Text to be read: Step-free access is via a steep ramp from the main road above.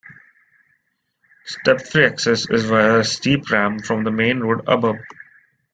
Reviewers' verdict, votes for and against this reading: accepted, 3, 0